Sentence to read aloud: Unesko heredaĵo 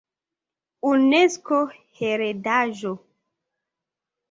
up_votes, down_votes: 2, 1